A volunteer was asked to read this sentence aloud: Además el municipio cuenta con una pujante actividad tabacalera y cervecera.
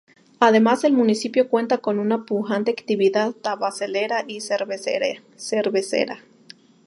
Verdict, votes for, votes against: rejected, 0, 4